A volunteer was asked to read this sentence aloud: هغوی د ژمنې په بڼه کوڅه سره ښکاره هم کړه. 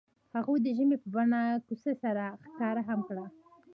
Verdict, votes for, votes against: accepted, 2, 0